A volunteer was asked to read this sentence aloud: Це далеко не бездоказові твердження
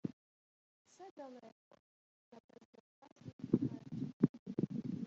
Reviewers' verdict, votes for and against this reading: rejected, 0, 2